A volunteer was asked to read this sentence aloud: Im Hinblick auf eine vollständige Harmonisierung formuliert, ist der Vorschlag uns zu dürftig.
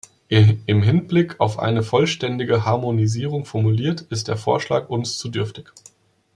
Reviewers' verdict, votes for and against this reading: rejected, 1, 2